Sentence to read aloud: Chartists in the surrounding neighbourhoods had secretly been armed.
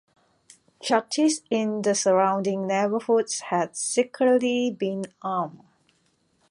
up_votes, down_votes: 2, 1